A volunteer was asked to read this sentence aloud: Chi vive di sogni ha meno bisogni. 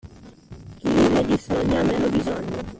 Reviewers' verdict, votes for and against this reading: rejected, 0, 2